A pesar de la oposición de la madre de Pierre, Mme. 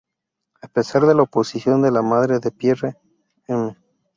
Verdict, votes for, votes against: rejected, 0, 2